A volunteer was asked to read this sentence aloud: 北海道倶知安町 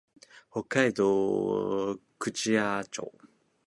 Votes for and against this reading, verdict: 1, 2, rejected